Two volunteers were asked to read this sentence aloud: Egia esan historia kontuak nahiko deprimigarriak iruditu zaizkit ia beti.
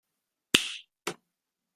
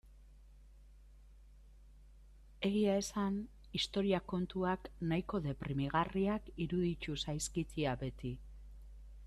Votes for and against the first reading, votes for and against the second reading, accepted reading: 0, 2, 2, 1, second